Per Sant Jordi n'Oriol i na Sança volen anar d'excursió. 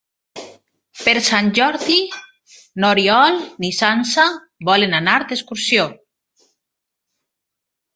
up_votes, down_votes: 0, 2